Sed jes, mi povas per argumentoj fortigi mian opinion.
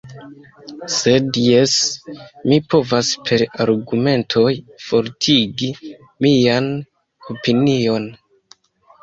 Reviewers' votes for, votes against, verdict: 2, 0, accepted